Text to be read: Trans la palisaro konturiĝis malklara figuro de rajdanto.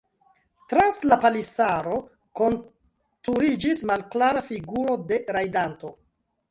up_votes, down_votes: 1, 2